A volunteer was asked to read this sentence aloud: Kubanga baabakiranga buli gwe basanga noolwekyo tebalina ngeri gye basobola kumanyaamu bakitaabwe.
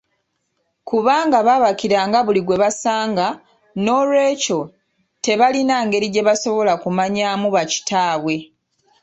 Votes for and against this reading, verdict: 1, 2, rejected